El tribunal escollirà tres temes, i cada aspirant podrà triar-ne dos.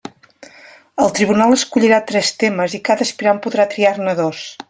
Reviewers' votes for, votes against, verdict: 2, 0, accepted